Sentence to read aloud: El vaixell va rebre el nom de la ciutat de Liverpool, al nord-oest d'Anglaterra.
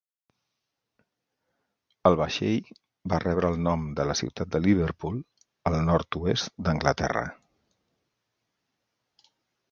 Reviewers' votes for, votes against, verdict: 2, 0, accepted